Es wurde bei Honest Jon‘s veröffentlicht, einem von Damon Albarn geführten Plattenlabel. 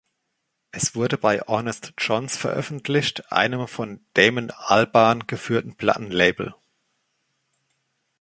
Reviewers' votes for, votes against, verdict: 2, 1, accepted